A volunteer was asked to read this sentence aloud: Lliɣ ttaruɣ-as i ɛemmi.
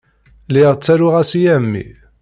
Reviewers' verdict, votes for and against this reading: accepted, 2, 0